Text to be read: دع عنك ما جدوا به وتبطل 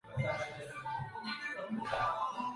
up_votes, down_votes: 0, 2